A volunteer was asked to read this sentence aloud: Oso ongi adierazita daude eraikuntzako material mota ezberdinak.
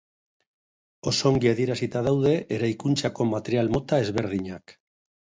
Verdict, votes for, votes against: accepted, 2, 0